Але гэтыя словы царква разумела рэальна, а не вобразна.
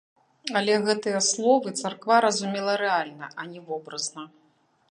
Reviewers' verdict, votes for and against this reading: rejected, 0, 2